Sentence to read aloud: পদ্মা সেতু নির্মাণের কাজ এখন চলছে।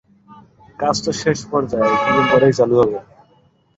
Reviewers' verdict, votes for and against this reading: rejected, 0, 7